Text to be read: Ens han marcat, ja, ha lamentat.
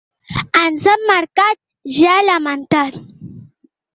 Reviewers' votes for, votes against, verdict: 2, 1, accepted